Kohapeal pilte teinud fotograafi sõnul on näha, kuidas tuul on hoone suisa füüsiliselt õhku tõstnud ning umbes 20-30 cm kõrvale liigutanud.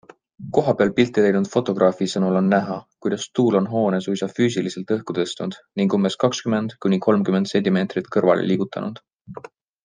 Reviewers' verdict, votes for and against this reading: rejected, 0, 2